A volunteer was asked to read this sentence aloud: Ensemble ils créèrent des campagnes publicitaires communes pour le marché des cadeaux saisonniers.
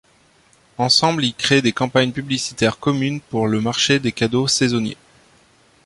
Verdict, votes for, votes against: rejected, 1, 2